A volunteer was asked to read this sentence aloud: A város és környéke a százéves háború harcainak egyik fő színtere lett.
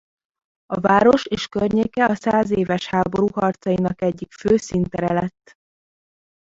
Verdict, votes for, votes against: rejected, 0, 2